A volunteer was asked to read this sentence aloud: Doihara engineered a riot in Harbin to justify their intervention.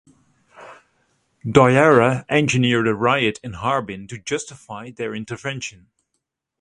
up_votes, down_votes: 2, 0